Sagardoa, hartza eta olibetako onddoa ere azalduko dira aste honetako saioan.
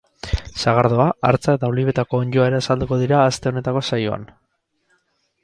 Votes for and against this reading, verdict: 4, 0, accepted